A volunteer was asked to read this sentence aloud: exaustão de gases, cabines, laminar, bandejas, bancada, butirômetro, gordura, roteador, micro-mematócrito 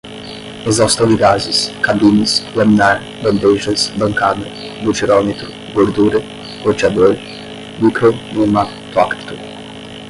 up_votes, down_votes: 5, 5